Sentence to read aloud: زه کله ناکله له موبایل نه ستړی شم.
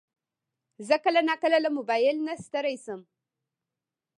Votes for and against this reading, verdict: 2, 1, accepted